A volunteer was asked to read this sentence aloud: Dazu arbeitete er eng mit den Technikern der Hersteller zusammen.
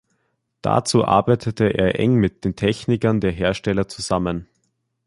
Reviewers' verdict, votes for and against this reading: accepted, 2, 0